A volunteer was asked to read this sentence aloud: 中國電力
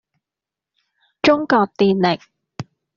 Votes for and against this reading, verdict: 2, 0, accepted